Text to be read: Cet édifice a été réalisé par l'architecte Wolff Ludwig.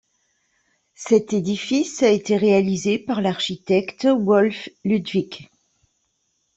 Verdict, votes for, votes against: accepted, 2, 0